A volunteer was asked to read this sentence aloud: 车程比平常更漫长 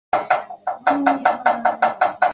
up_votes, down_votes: 0, 2